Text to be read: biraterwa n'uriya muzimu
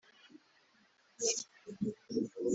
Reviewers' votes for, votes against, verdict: 1, 3, rejected